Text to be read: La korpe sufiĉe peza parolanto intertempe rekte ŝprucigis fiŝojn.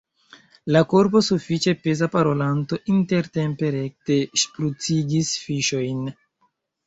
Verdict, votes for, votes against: rejected, 1, 3